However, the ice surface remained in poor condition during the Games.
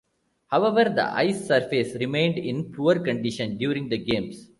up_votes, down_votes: 2, 1